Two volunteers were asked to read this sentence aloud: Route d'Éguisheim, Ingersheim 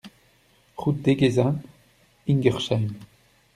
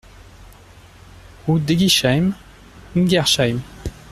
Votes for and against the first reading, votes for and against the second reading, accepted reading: 0, 2, 2, 0, second